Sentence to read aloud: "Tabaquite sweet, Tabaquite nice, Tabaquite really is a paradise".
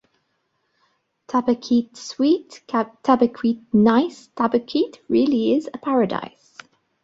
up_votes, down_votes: 1, 2